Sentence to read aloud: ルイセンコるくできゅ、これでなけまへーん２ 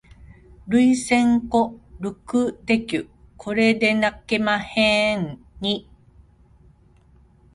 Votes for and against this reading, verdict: 0, 2, rejected